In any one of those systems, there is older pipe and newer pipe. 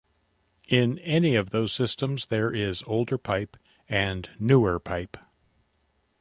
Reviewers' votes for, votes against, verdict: 1, 2, rejected